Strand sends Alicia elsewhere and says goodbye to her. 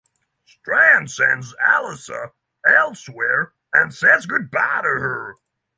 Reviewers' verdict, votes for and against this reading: rejected, 3, 3